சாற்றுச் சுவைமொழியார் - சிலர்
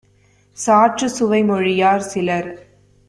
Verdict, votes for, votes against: accepted, 2, 0